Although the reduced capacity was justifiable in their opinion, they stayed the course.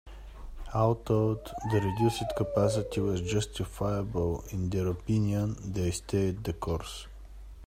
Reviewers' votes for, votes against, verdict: 1, 2, rejected